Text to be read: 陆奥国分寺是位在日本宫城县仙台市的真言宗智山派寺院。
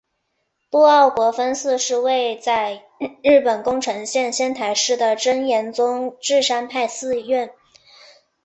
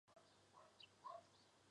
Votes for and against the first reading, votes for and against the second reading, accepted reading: 4, 0, 1, 5, first